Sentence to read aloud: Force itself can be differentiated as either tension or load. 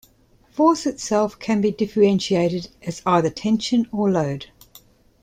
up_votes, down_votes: 2, 0